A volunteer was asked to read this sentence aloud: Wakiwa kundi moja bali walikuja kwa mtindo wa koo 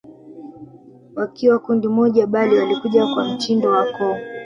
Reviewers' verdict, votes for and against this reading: rejected, 1, 2